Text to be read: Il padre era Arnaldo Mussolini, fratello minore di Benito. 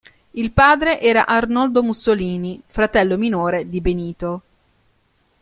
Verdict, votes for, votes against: rejected, 0, 2